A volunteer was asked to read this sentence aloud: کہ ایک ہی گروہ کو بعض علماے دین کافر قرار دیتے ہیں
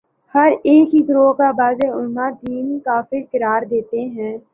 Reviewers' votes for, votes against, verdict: 2, 0, accepted